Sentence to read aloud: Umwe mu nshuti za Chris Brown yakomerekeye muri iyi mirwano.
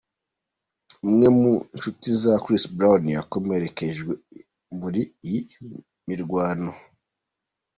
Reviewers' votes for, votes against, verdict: 2, 1, accepted